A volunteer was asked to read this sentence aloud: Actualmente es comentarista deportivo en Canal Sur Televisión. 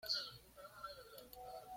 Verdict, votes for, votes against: rejected, 1, 2